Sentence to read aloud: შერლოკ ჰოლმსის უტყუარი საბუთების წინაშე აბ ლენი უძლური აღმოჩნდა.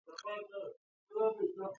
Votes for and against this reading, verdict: 0, 2, rejected